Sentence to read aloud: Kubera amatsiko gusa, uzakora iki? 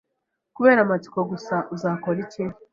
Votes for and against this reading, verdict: 2, 0, accepted